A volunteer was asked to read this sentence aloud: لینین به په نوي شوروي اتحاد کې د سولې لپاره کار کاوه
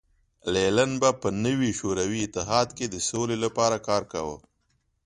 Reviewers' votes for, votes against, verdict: 2, 0, accepted